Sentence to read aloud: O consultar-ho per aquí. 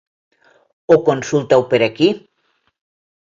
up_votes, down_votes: 0, 2